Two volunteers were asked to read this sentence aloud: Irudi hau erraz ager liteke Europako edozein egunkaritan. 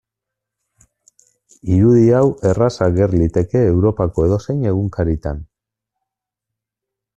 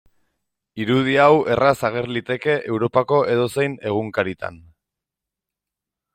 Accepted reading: second